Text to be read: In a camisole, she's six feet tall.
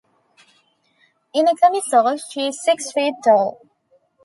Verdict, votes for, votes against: accepted, 2, 0